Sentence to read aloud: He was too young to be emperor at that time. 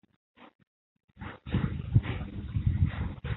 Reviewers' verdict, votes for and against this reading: rejected, 0, 2